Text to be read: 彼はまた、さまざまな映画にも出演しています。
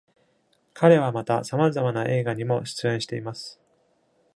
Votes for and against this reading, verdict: 2, 0, accepted